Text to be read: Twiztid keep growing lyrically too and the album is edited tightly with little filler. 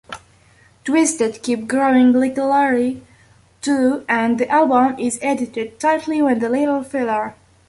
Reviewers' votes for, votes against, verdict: 0, 2, rejected